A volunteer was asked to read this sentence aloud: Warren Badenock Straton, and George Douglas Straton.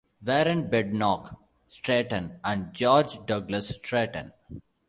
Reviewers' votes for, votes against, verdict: 2, 0, accepted